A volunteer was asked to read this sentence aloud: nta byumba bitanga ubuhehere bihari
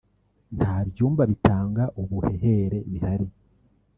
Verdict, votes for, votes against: rejected, 1, 2